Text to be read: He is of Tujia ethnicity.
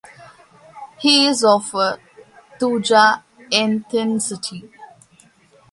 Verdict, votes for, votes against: rejected, 0, 2